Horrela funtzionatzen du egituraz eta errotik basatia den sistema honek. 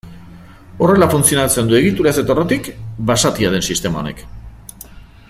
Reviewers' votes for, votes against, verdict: 2, 0, accepted